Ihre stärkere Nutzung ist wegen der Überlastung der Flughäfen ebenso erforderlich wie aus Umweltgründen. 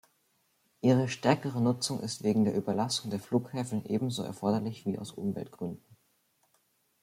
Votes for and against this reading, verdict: 2, 0, accepted